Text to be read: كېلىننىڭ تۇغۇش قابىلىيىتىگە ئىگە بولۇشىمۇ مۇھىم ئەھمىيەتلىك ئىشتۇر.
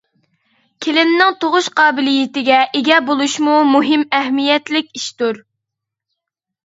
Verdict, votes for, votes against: accepted, 2, 0